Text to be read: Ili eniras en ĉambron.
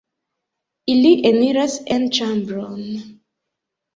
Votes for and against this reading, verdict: 1, 2, rejected